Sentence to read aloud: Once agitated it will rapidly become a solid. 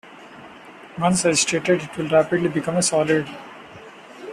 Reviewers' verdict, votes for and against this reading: rejected, 1, 2